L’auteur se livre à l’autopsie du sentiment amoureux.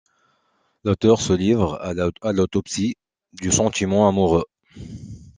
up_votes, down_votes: 1, 2